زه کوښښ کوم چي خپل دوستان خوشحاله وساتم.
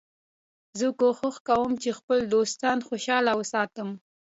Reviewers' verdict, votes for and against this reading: accepted, 2, 0